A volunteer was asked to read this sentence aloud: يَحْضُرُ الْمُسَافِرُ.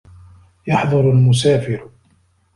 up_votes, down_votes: 2, 1